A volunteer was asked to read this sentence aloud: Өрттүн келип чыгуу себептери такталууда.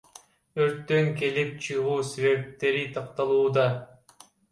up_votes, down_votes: 2, 1